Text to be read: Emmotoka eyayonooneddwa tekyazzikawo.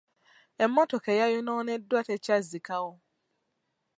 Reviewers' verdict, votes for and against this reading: accepted, 2, 0